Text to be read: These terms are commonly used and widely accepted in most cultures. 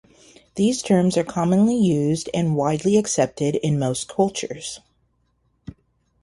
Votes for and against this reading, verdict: 0, 2, rejected